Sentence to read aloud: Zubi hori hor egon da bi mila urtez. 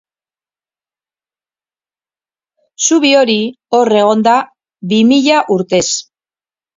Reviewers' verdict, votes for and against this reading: accepted, 2, 0